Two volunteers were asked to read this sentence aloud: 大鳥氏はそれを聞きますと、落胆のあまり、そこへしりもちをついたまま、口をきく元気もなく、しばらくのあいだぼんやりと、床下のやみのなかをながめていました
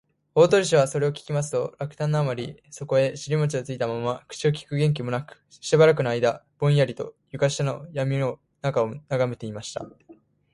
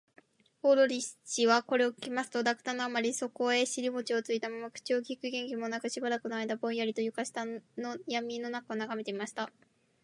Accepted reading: second